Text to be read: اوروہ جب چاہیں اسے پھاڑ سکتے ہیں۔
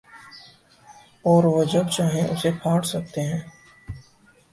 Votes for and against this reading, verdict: 4, 0, accepted